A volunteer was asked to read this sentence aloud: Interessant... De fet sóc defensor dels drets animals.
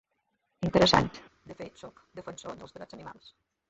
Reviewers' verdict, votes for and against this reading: accepted, 2, 1